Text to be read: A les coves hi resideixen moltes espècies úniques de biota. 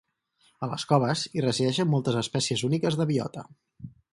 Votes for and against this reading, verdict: 4, 0, accepted